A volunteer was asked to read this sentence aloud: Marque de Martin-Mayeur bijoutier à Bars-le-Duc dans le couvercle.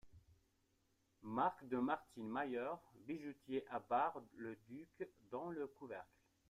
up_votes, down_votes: 1, 2